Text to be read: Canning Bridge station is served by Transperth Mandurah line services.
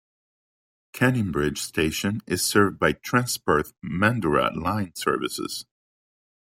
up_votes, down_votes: 2, 0